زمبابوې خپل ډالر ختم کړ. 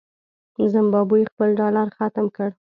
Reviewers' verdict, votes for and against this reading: accepted, 2, 0